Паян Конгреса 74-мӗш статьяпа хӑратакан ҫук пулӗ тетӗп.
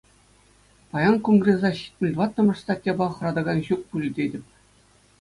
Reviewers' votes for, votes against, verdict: 0, 2, rejected